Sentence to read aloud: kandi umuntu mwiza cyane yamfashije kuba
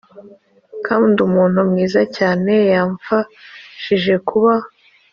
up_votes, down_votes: 2, 0